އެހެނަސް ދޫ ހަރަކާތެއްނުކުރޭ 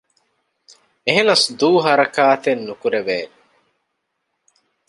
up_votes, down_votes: 2, 1